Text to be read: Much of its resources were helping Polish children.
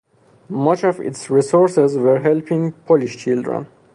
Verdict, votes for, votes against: rejected, 2, 2